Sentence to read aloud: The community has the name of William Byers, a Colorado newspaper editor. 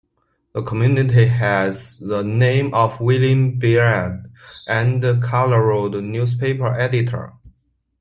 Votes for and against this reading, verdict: 1, 2, rejected